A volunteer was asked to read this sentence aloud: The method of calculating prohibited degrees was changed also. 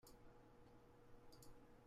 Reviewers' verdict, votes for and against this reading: rejected, 0, 2